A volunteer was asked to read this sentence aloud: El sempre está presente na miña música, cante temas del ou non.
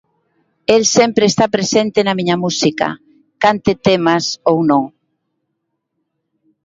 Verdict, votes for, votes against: rejected, 1, 2